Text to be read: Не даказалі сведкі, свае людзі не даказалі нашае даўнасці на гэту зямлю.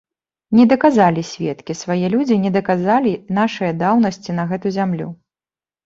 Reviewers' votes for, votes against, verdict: 2, 0, accepted